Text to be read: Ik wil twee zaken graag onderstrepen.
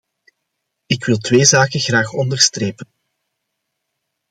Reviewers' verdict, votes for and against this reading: accepted, 2, 0